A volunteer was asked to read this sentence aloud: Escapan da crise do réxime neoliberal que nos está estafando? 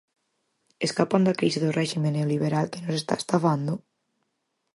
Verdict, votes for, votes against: accepted, 4, 0